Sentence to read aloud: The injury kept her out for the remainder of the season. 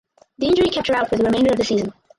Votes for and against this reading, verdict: 2, 4, rejected